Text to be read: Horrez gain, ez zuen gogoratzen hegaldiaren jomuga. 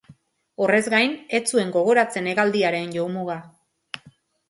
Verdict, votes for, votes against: rejected, 1, 2